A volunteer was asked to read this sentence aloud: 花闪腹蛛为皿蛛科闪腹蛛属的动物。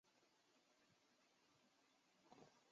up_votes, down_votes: 3, 6